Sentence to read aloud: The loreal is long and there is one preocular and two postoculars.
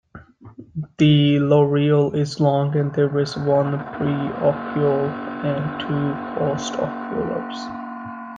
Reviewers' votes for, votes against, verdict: 2, 1, accepted